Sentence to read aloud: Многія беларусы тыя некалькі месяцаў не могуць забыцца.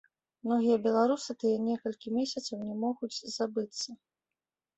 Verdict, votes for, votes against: rejected, 1, 2